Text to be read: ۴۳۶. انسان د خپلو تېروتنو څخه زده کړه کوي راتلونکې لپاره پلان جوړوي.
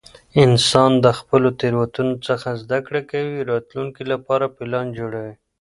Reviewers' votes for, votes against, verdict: 0, 2, rejected